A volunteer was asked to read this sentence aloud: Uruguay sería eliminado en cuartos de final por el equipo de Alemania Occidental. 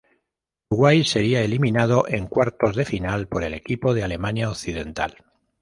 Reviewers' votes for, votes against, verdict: 0, 2, rejected